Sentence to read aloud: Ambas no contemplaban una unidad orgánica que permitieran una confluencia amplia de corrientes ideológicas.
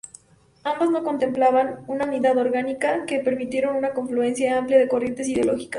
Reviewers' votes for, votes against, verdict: 4, 0, accepted